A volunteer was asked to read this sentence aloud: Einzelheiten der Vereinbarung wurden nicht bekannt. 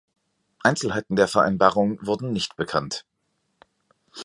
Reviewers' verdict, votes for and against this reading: accepted, 2, 0